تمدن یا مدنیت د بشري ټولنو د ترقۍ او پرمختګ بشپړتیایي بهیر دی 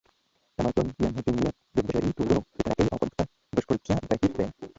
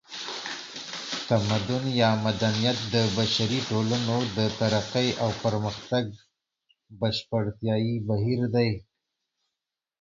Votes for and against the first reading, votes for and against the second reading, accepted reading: 0, 2, 2, 0, second